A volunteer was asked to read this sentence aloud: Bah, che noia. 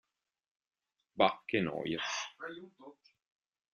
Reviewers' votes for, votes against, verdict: 2, 1, accepted